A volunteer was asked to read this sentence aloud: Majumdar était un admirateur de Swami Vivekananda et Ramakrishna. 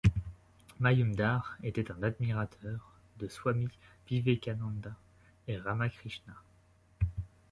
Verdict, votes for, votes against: accepted, 2, 0